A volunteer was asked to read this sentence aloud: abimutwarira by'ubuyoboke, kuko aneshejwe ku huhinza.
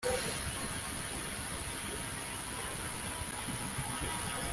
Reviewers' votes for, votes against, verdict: 0, 2, rejected